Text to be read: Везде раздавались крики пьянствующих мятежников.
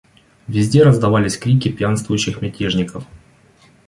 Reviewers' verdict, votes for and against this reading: accepted, 2, 0